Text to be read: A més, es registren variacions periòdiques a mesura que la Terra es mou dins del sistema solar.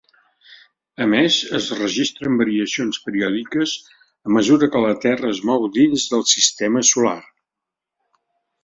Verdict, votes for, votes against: accepted, 3, 0